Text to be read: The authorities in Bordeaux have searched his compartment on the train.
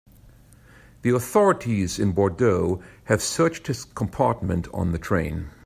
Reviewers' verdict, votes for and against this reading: accepted, 2, 1